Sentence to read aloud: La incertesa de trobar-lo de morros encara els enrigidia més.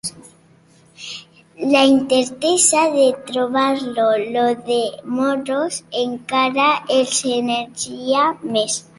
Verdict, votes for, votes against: rejected, 0, 2